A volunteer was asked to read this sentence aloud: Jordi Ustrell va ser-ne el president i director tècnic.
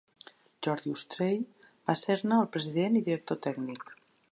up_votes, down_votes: 2, 0